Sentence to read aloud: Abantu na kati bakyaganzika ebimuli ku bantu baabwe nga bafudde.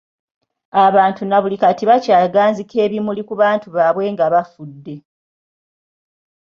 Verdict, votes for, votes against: rejected, 1, 2